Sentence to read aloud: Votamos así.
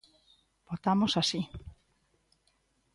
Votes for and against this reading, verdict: 4, 0, accepted